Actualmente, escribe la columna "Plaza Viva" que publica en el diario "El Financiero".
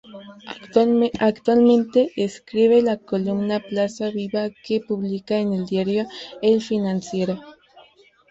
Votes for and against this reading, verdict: 0, 2, rejected